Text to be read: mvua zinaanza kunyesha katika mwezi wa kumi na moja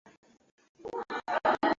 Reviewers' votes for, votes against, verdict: 0, 2, rejected